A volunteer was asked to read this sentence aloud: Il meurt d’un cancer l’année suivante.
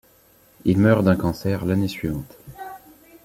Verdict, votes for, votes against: rejected, 0, 2